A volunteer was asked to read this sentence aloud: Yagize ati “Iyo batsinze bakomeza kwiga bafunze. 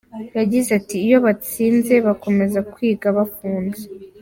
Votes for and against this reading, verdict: 2, 0, accepted